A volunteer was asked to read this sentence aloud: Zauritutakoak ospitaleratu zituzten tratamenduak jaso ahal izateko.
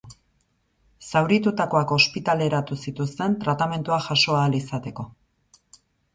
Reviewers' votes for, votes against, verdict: 2, 0, accepted